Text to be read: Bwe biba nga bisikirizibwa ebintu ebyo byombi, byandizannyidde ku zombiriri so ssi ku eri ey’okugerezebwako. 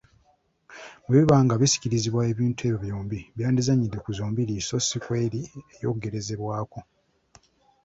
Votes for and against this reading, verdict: 2, 0, accepted